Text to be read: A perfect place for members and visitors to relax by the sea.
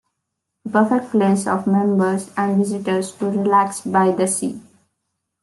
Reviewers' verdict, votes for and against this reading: accepted, 2, 0